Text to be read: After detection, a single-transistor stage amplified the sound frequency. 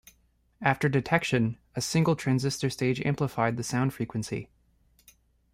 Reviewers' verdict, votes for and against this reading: rejected, 0, 2